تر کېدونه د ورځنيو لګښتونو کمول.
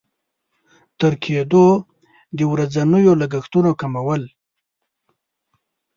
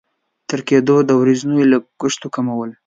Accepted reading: second